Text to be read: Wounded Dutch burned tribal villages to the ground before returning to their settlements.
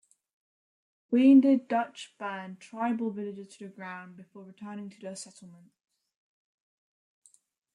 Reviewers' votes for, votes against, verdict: 2, 1, accepted